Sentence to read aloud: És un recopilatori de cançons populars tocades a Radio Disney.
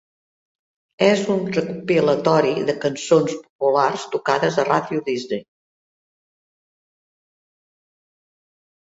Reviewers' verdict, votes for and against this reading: rejected, 0, 2